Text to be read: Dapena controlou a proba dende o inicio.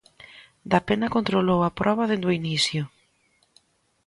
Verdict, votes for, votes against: accepted, 2, 0